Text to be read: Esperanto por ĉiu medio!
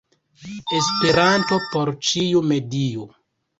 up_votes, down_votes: 2, 0